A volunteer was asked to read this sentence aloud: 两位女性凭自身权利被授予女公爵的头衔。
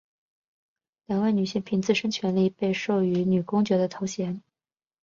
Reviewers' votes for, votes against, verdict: 3, 0, accepted